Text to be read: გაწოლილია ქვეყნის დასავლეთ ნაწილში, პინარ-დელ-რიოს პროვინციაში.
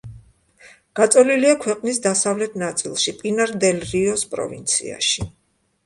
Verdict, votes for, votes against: accepted, 2, 0